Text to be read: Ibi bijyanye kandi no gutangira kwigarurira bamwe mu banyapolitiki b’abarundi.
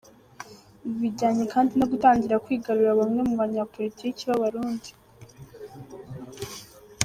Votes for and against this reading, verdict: 0, 2, rejected